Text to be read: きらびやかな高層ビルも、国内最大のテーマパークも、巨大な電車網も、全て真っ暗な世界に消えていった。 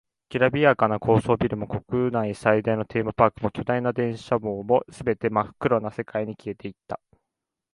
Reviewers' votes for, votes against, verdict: 2, 0, accepted